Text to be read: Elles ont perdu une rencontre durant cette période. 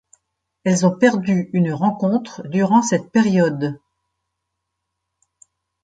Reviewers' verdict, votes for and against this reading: accepted, 2, 0